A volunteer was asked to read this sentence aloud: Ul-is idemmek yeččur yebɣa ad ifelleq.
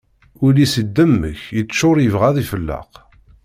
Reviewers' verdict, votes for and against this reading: accepted, 2, 0